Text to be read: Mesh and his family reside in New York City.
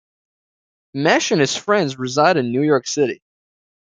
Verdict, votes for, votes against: rejected, 1, 2